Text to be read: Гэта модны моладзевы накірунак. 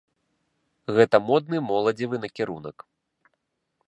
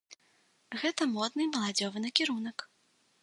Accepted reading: first